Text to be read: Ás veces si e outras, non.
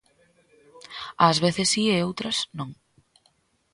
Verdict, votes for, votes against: accepted, 2, 0